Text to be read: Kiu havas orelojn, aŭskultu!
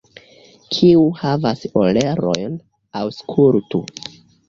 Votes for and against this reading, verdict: 0, 2, rejected